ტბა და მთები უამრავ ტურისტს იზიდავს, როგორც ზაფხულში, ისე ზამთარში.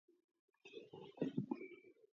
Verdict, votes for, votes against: accepted, 2, 0